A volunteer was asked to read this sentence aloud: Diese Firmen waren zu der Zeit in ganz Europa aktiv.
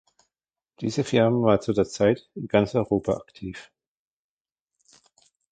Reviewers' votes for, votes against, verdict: 0, 2, rejected